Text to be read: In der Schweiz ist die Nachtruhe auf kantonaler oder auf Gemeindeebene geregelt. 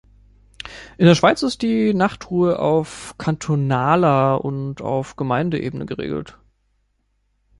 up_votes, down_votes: 0, 2